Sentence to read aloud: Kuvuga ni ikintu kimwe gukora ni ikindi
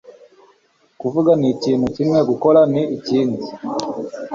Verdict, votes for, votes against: accepted, 2, 1